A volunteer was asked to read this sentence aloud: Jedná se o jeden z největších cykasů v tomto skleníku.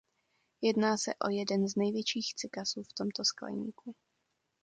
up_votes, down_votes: 2, 0